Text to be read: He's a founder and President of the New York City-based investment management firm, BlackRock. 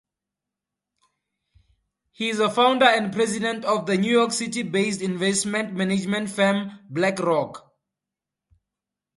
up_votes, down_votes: 2, 0